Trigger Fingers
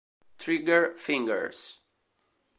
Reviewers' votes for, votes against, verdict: 2, 0, accepted